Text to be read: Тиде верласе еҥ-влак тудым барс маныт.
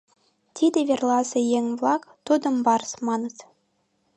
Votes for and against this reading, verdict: 2, 0, accepted